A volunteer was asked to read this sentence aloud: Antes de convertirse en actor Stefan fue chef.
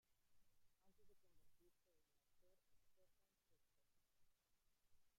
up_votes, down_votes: 0, 2